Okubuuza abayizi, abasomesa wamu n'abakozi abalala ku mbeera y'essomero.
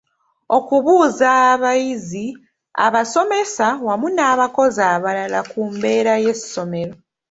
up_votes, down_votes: 2, 0